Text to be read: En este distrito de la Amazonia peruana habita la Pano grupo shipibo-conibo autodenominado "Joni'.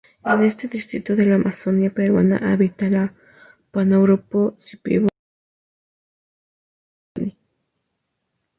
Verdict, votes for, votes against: rejected, 0, 4